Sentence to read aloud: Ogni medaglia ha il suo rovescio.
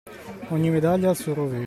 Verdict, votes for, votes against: rejected, 0, 2